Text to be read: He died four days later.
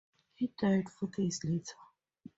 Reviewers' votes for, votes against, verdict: 2, 0, accepted